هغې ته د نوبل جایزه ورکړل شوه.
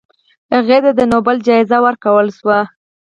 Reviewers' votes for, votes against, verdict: 0, 4, rejected